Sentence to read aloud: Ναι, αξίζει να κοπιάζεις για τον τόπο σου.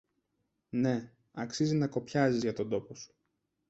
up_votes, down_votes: 1, 2